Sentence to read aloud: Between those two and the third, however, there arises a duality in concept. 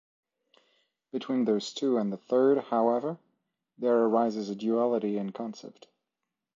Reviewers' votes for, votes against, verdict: 2, 0, accepted